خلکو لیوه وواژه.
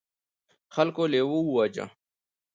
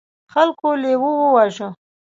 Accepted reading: first